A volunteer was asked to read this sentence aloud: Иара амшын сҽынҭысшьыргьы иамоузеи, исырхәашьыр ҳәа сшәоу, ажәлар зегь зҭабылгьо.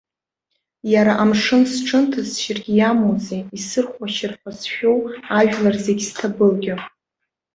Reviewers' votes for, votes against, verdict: 2, 0, accepted